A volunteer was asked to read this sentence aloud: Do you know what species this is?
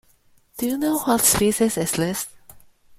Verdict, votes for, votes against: rejected, 0, 2